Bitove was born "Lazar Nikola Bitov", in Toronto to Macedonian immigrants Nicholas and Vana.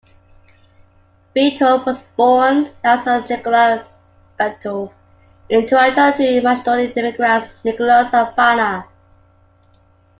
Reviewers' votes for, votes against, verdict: 2, 1, accepted